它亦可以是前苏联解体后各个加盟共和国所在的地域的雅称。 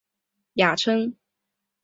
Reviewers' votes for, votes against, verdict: 0, 3, rejected